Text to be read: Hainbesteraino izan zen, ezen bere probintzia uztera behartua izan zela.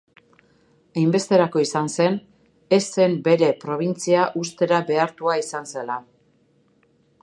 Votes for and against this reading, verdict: 0, 2, rejected